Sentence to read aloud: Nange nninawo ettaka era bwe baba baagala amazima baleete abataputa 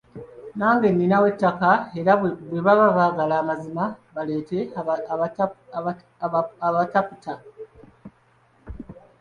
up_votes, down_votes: 0, 2